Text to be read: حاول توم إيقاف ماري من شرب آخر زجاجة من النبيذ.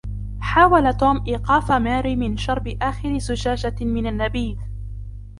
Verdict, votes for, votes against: accepted, 2, 0